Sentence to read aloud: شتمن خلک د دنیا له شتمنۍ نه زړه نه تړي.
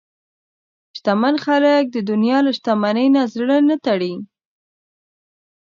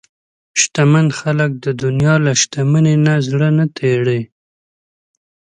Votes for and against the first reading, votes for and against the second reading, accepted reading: 2, 0, 0, 2, first